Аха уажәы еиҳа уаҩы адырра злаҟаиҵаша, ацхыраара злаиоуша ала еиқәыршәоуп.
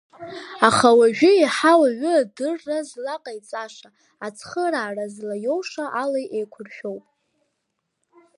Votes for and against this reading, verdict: 2, 0, accepted